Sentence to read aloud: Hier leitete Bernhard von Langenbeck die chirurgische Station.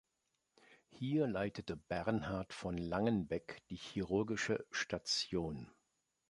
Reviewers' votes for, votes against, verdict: 2, 0, accepted